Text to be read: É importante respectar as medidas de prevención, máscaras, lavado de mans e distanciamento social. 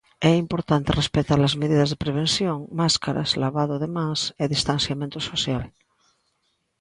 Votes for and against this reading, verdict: 2, 1, accepted